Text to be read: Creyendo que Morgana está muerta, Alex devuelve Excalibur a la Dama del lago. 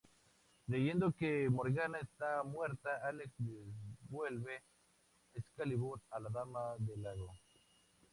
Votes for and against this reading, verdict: 2, 0, accepted